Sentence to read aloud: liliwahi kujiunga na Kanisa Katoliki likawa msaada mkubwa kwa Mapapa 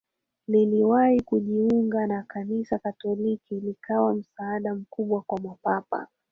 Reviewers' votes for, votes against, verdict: 3, 1, accepted